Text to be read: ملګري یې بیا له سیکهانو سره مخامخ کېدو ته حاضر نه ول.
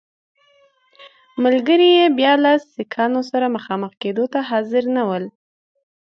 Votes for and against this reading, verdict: 2, 0, accepted